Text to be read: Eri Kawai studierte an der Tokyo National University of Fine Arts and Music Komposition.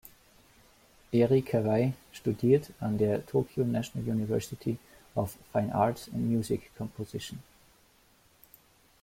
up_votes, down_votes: 0, 2